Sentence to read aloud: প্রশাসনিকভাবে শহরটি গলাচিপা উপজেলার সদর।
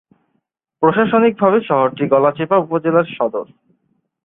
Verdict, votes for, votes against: accepted, 10, 0